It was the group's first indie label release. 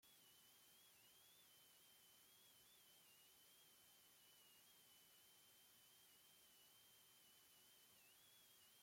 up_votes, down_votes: 0, 2